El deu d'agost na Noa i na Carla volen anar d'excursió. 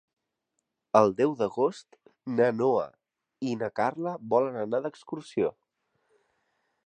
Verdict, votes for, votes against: accepted, 4, 0